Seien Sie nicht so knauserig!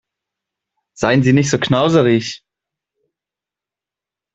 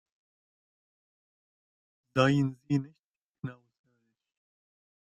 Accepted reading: first